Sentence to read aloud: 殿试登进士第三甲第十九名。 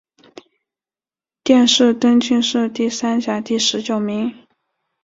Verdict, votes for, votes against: accepted, 2, 0